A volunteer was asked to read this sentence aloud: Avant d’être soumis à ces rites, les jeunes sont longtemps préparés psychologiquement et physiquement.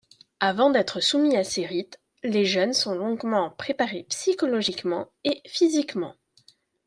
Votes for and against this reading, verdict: 0, 2, rejected